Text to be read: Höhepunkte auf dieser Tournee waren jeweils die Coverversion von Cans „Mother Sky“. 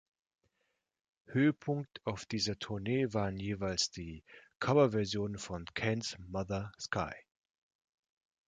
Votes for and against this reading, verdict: 1, 2, rejected